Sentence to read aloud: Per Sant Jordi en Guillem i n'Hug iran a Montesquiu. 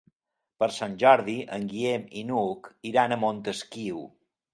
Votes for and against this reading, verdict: 3, 0, accepted